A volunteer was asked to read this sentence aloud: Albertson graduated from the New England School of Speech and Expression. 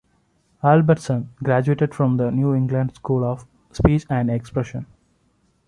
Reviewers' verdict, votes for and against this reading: accepted, 2, 0